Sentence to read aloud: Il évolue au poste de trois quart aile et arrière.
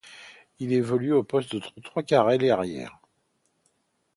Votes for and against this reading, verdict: 0, 2, rejected